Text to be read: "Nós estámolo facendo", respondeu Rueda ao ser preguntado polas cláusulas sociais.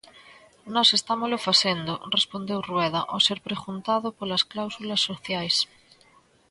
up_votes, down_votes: 2, 0